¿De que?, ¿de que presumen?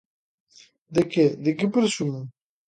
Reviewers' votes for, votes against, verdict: 2, 0, accepted